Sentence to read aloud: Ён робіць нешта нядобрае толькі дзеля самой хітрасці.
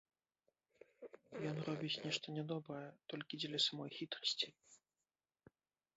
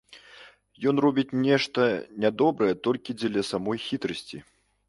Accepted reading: second